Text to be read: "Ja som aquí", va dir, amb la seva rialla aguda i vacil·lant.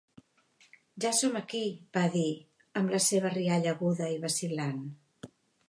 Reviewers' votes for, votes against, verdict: 4, 0, accepted